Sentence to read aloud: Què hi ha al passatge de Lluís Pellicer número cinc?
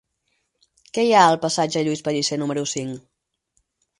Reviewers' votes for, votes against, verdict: 4, 0, accepted